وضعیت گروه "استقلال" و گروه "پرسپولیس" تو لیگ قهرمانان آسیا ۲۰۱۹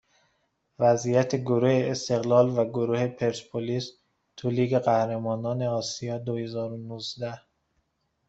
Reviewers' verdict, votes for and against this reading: rejected, 0, 2